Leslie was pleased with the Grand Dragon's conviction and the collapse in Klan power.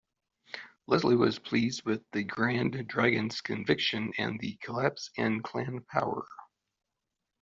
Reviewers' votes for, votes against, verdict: 2, 0, accepted